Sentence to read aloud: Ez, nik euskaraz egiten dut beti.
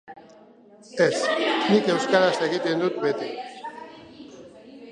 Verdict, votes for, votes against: accepted, 3, 0